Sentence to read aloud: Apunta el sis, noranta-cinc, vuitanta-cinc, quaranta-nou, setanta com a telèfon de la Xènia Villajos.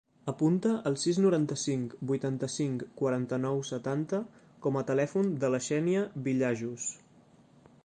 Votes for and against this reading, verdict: 0, 2, rejected